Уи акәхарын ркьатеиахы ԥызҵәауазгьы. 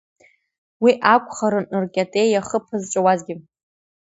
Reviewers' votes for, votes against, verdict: 2, 0, accepted